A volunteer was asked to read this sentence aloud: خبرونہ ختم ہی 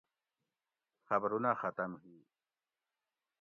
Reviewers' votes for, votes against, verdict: 0, 2, rejected